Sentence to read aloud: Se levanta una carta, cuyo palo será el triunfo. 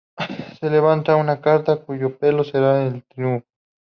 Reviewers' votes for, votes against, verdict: 0, 2, rejected